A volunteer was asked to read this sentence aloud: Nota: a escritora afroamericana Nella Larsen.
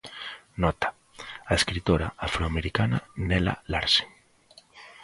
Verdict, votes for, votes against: accepted, 2, 0